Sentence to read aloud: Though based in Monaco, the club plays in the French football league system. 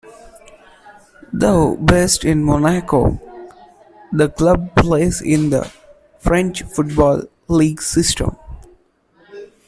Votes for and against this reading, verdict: 2, 1, accepted